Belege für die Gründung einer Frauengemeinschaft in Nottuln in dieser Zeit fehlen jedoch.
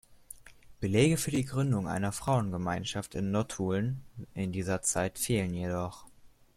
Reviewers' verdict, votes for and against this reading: accepted, 2, 0